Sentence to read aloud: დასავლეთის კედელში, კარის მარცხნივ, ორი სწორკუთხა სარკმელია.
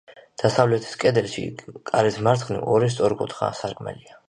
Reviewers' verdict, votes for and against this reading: accepted, 3, 1